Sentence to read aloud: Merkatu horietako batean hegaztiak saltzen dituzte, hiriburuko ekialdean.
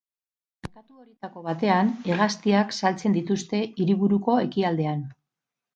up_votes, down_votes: 0, 2